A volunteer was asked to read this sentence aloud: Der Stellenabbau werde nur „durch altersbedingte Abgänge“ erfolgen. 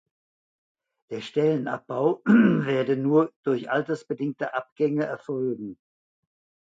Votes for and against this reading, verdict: 1, 2, rejected